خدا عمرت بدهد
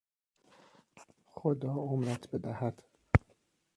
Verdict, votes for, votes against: rejected, 1, 2